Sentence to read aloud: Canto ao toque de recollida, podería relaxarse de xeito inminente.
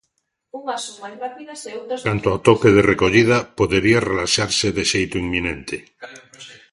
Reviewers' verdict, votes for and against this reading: rejected, 1, 2